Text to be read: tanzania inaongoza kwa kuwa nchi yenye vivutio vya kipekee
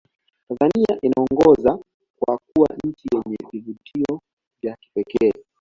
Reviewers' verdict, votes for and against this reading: accepted, 2, 0